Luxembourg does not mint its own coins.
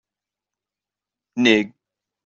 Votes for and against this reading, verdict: 0, 2, rejected